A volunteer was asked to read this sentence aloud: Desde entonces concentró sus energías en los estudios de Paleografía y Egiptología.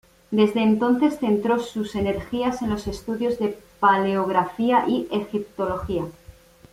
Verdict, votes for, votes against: rejected, 0, 2